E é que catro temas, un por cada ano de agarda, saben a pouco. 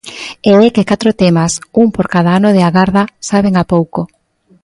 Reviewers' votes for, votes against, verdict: 2, 0, accepted